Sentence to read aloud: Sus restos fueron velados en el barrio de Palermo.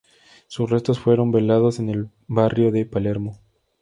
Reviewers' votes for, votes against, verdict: 2, 0, accepted